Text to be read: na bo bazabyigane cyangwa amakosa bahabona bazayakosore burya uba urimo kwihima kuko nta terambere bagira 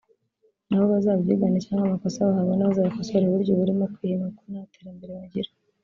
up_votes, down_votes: 2, 1